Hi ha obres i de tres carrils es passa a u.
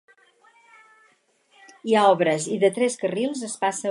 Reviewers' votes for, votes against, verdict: 0, 4, rejected